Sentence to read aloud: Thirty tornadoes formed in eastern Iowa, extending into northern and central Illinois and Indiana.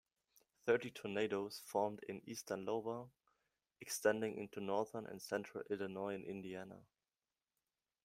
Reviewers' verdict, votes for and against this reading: accepted, 2, 1